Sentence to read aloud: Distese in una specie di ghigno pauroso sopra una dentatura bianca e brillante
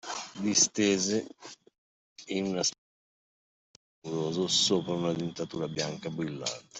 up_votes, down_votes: 0, 2